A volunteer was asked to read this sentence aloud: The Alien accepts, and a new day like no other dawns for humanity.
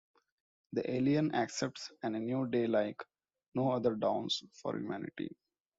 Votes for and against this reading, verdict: 2, 0, accepted